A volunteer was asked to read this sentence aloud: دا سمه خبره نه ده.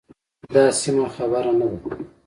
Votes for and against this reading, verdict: 2, 0, accepted